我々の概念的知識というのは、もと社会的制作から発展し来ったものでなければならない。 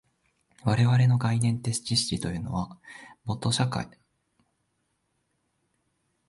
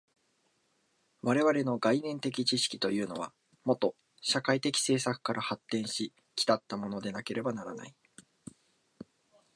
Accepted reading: second